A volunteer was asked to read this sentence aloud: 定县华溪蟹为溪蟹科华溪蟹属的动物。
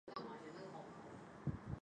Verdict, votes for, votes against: rejected, 0, 2